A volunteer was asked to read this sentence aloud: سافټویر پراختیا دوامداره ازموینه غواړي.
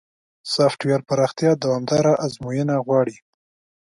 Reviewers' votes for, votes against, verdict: 2, 0, accepted